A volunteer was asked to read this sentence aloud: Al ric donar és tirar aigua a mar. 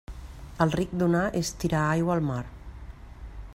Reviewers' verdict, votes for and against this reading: rejected, 0, 2